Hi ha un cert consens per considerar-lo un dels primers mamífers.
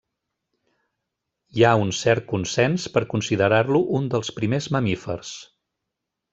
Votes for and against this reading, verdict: 3, 0, accepted